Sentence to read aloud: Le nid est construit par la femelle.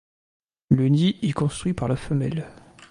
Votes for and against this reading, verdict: 0, 2, rejected